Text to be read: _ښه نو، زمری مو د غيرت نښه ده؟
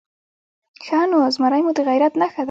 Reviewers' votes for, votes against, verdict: 2, 0, accepted